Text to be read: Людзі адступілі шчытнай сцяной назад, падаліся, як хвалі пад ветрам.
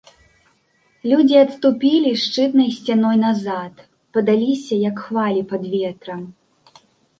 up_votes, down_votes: 2, 0